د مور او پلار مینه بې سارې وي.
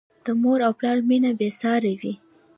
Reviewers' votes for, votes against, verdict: 1, 2, rejected